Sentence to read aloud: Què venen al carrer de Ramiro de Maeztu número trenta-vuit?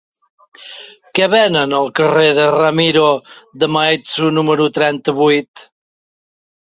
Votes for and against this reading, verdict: 0, 2, rejected